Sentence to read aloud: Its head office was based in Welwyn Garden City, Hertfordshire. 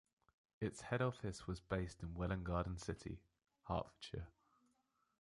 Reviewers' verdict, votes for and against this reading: rejected, 1, 2